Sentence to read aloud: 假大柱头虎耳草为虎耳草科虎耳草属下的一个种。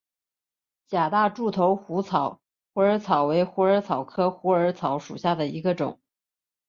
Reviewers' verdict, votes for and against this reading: rejected, 2, 4